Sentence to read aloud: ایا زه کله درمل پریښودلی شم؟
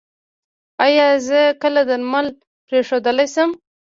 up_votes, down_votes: 0, 2